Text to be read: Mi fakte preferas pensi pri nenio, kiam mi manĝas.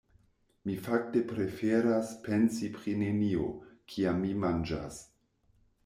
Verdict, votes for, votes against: accepted, 2, 0